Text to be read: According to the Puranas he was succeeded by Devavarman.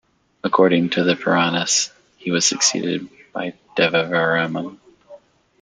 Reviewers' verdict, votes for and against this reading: rejected, 1, 2